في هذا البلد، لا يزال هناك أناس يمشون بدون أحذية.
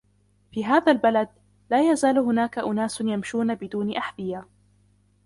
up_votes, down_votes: 0, 2